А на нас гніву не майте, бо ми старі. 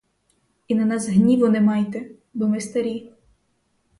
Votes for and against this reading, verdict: 0, 2, rejected